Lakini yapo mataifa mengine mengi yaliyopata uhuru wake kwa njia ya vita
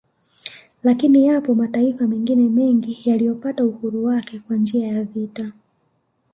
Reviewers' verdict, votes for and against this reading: accepted, 2, 0